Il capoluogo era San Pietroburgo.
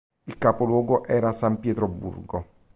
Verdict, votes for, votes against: accepted, 2, 0